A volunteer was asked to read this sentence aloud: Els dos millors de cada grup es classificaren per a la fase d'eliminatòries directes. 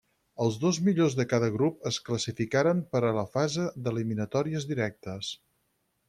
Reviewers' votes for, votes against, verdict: 0, 4, rejected